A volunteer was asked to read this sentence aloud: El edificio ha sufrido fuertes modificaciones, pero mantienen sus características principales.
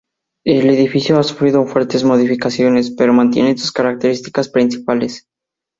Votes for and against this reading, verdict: 4, 0, accepted